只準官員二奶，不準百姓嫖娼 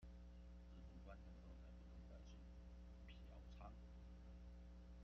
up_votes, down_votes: 0, 2